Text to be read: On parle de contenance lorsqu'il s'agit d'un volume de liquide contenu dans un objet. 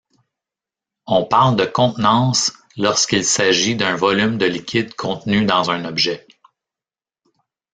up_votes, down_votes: 1, 2